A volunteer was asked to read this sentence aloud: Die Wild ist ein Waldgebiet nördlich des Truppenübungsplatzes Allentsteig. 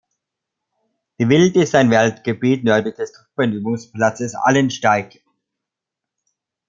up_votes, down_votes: 1, 2